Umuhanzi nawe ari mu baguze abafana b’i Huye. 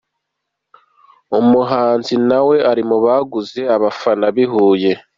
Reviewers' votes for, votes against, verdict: 2, 0, accepted